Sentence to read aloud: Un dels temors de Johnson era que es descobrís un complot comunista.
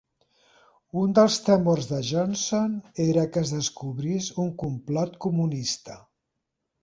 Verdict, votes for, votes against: accepted, 6, 0